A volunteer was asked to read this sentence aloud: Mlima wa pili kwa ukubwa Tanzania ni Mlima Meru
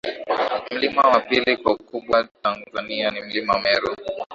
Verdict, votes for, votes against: accepted, 2, 0